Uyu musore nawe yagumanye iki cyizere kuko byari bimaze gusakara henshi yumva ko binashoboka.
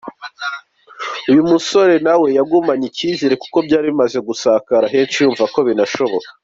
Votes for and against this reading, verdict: 2, 0, accepted